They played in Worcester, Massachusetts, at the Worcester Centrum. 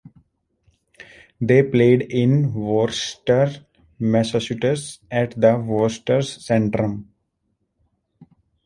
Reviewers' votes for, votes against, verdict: 1, 2, rejected